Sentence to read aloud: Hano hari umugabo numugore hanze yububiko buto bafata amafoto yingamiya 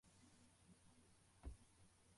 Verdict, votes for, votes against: rejected, 0, 2